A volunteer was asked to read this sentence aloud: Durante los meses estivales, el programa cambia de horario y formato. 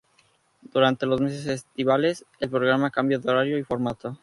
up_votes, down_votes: 0, 2